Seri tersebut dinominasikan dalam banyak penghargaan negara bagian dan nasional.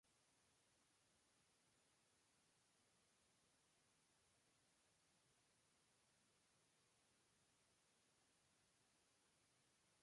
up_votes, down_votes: 0, 2